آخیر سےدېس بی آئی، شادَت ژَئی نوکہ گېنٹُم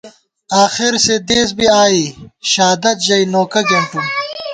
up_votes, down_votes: 1, 2